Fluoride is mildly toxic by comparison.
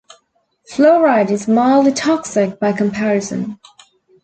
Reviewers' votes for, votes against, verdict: 2, 0, accepted